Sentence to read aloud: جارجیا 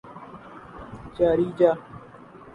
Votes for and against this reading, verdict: 2, 2, rejected